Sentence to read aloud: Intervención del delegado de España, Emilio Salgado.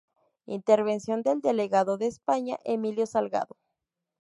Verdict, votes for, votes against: accepted, 2, 0